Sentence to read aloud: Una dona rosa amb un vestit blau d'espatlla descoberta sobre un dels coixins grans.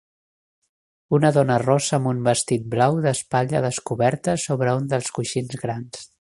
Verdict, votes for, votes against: accepted, 3, 0